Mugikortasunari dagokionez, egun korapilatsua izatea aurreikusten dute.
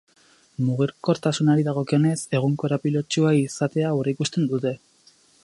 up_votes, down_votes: 0, 2